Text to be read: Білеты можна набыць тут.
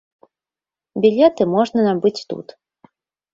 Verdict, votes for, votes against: accepted, 2, 0